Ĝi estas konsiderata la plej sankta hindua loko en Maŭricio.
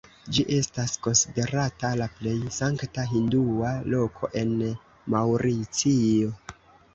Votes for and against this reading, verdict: 1, 2, rejected